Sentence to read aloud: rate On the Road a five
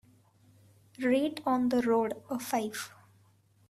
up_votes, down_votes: 2, 1